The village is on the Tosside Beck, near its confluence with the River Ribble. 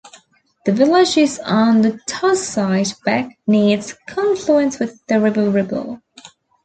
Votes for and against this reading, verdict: 2, 0, accepted